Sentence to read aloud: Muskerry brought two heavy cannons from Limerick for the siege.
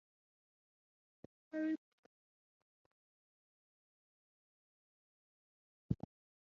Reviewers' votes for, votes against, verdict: 0, 2, rejected